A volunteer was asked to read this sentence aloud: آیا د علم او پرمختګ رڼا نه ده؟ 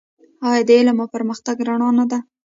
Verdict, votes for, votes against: accepted, 2, 0